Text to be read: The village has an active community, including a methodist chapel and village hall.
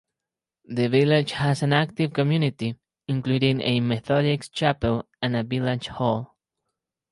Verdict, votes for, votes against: rejected, 0, 2